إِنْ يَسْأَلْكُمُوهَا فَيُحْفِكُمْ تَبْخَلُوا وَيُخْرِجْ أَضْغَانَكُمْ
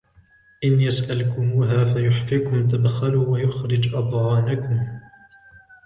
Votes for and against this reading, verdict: 2, 0, accepted